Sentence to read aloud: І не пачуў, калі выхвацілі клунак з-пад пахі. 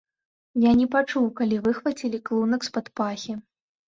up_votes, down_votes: 0, 2